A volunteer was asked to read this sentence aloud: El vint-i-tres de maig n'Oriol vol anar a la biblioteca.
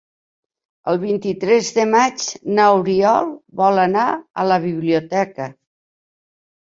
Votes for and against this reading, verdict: 1, 2, rejected